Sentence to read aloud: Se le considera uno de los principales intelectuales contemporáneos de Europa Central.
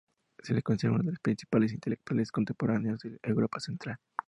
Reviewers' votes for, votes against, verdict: 2, 2, rejected